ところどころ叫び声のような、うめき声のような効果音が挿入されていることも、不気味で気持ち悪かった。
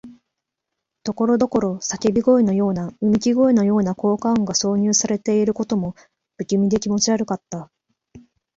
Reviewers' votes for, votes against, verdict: 2, 0, accepted